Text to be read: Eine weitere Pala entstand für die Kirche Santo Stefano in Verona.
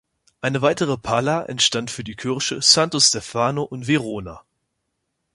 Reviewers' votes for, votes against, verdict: 2, 0, accepted